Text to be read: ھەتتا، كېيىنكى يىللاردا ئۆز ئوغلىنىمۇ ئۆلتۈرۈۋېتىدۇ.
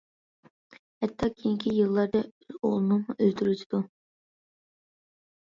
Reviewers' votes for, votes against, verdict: 1, 2, rejected